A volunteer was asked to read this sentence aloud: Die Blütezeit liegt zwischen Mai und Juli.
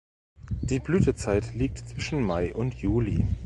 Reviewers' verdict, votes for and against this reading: accepted, 2, 0